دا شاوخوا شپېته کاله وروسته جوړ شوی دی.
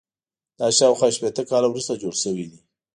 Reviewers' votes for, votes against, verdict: 1, 2, rejected